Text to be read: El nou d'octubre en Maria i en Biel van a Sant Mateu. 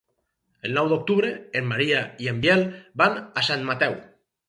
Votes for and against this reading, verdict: 4, 0, accepted